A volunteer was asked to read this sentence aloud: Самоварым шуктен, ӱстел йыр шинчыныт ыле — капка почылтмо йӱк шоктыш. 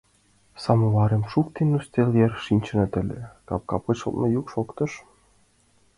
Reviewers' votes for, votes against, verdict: 2, 0, accepted